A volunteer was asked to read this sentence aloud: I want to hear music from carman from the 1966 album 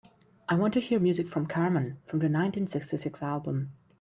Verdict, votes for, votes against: rejected, 0, 2